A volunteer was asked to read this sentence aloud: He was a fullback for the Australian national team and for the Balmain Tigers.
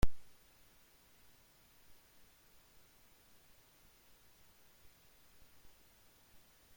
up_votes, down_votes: 0, 2